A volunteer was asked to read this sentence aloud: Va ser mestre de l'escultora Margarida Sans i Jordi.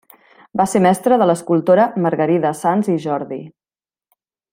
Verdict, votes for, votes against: accepted, 3, 0